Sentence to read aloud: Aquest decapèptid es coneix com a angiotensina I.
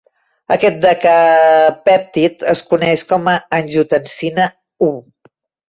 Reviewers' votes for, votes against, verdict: 0, 2, rejected